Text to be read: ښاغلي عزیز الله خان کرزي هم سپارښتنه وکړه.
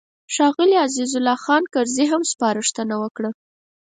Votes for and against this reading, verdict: 4, 0, accepted